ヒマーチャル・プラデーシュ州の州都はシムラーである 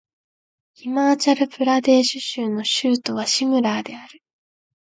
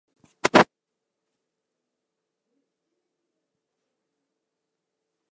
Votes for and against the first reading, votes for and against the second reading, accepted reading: 2, 0, 1, 3, first